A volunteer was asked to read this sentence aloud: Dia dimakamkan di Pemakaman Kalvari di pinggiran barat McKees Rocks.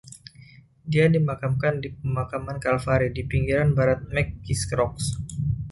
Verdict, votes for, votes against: rejected, 0, 2